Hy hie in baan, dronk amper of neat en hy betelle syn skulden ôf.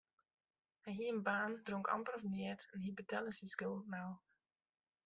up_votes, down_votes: 0, 2